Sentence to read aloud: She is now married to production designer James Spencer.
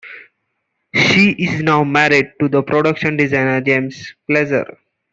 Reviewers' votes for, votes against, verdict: 0, 2, rejected